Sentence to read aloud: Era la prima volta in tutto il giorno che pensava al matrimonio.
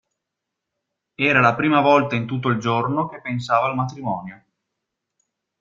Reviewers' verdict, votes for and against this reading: accepted, 2, 0